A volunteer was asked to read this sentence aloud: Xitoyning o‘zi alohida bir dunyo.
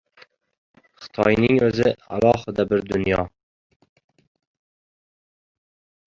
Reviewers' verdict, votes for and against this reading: rejected, 0, 2